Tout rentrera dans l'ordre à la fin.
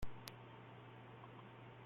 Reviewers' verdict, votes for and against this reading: rejected, 0, 2